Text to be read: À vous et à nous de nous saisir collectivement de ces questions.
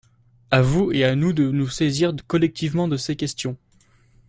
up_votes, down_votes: 0, 2